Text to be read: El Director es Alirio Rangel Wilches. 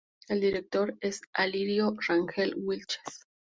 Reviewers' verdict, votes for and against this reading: accepted, 2, 0